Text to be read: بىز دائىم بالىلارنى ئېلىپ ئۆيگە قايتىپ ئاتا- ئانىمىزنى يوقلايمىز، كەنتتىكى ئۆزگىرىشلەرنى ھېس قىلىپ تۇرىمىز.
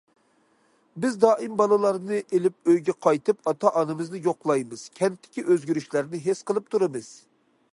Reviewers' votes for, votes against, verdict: 2, 0, accepted